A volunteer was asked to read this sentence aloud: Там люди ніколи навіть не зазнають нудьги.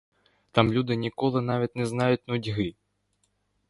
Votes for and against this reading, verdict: 1, 2, rejected